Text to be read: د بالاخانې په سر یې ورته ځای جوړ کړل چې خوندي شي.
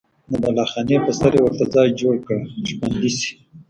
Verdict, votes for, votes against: accepted, 2, 0